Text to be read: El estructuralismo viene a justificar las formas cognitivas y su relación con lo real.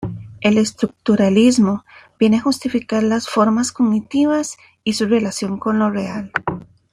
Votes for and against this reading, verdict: 2, 0, accepted